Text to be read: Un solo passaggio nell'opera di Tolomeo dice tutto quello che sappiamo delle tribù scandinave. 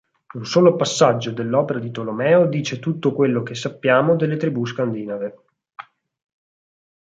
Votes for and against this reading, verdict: 0, 4, rejected